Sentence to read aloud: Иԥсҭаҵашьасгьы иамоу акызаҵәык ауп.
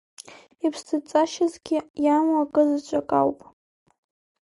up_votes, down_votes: 3, 0